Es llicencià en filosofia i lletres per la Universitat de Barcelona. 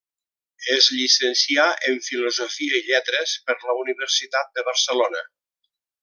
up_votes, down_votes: 3, 0